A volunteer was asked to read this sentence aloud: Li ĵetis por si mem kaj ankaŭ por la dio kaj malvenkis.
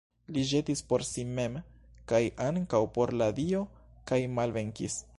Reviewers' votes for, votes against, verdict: 2, 0, accepted